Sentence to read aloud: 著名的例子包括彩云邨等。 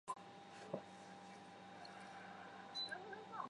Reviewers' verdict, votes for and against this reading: rejected, 0, 3